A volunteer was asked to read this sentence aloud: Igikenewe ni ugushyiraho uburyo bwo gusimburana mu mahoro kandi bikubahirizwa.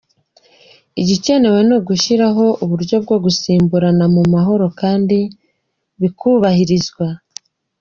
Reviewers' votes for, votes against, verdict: 3, 1, accepted